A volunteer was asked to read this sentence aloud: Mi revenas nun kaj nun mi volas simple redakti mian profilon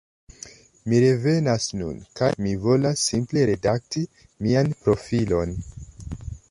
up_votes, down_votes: 1, 2